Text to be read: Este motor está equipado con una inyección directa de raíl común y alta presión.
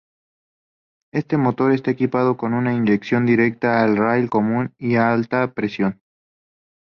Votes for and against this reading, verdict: 2, 2, rejected